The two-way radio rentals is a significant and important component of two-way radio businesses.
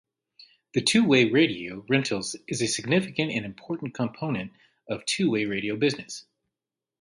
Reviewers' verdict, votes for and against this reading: rejected, 0, 2